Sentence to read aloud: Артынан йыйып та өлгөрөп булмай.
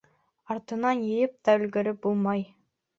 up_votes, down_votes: 2, 0